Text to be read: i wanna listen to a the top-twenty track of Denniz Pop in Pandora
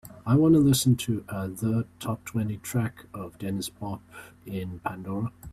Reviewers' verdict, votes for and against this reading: accepted, 4, 0